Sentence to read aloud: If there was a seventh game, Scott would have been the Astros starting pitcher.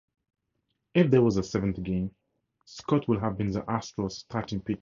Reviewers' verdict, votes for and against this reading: rejected, 0, 4